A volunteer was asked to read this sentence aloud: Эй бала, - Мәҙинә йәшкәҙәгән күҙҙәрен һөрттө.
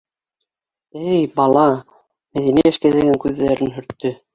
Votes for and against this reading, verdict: 1, 2, rejected